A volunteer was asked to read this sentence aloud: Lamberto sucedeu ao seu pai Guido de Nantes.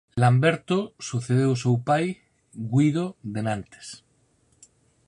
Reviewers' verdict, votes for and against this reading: rejected, 2, 4